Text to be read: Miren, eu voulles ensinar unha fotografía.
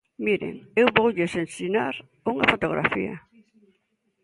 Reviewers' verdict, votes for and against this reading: accepted, 2, 0